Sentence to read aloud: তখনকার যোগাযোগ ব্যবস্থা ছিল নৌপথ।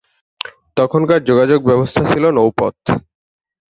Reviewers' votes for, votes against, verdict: 2, 0, accepted